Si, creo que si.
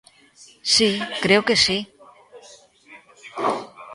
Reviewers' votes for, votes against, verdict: 2, 0, accepted